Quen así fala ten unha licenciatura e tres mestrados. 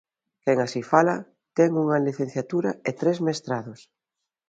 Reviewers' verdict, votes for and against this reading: accepted, 2, 0